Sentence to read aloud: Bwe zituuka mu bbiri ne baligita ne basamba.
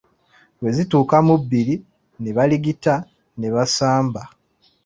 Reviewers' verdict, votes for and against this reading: accepted, 2, 0